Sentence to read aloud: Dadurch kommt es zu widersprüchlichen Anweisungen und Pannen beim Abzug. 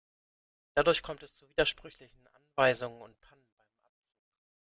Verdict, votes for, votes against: rejected, 0, 2